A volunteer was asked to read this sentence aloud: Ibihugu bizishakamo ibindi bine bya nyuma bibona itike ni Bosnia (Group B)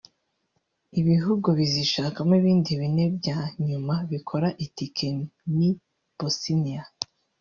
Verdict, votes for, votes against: rejected, 1, 3